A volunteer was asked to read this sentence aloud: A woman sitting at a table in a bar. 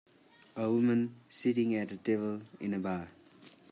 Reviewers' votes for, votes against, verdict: 2, 0, accepted